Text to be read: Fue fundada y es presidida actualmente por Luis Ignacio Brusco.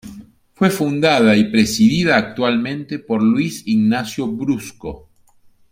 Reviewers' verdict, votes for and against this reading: accepted, 2, 1